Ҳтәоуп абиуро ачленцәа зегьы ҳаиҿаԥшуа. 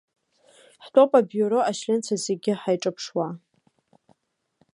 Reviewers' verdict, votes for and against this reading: accepted, 2, 0